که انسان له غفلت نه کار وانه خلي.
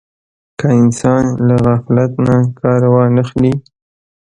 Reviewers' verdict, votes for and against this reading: rejected, 1, 2